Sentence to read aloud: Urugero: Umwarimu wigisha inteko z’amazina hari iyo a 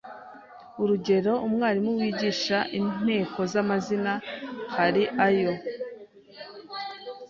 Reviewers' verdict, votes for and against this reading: rejected, 1, 2